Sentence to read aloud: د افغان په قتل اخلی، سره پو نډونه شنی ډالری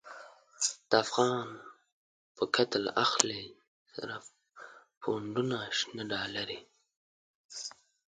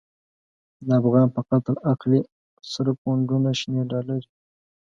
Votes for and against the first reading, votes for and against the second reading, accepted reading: 1, 2, 2, 0, second